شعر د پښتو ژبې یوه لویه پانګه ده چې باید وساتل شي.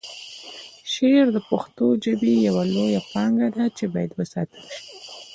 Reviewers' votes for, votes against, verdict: 2, 0, accepted